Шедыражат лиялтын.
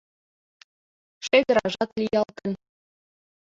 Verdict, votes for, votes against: accepted, 2, 1